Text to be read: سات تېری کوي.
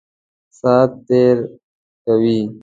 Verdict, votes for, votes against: rejected, 1, 2